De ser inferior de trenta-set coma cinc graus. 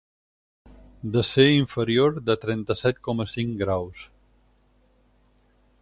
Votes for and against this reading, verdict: 8, 0, accepted